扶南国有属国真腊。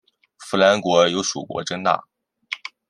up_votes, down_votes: 2, 1